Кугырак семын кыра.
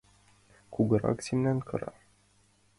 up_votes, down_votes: 2, 0